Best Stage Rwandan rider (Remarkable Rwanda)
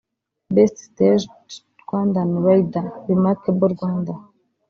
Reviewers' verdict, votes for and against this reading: rejected, 1, 2